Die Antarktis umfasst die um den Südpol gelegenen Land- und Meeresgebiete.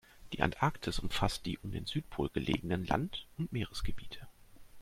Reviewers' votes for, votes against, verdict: 2, 0, accepted